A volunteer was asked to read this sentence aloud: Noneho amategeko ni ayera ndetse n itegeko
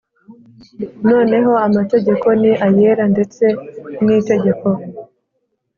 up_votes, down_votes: 5, 0